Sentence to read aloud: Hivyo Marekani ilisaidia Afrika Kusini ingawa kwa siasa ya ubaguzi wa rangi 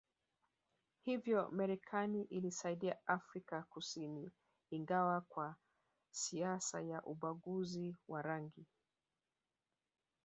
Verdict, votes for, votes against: rejected, 1, 2